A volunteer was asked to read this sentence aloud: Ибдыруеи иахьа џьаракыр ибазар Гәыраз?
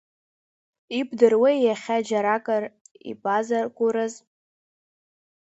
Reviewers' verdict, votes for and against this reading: accepted, 2, 1